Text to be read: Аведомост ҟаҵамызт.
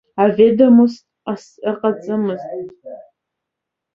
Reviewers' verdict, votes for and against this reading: rejected, 0, 2